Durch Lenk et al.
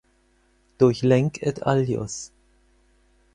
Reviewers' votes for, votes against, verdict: 2, 4, rejected